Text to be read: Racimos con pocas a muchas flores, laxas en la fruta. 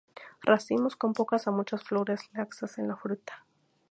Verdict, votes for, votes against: accepted, 2, 0